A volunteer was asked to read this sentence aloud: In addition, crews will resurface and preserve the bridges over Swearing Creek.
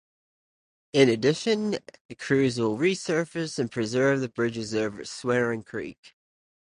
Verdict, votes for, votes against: accepted, 2, 0